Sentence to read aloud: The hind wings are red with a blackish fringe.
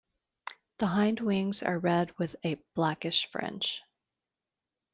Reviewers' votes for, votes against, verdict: 2, 1, accepted